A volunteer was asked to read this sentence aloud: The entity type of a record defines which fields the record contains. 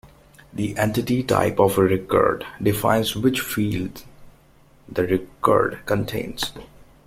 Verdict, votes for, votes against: rejected, 1, 2